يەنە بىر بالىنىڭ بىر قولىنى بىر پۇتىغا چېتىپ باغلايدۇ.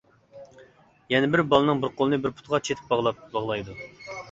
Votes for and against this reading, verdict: 0, 2, rejected